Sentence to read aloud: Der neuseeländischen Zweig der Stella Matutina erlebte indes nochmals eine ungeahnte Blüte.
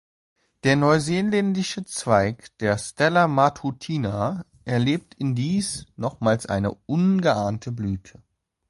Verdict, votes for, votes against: rejected, 0, 2